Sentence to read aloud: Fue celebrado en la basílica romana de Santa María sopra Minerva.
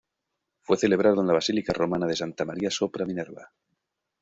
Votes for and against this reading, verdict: 0, 2, rejected